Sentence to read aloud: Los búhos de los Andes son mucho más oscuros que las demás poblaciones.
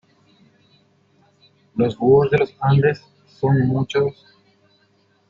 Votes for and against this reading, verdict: 0, 2, rejected